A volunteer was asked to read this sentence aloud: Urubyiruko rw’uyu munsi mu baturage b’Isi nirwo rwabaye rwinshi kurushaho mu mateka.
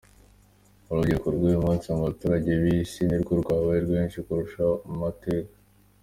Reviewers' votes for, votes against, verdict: 2, 0, accepted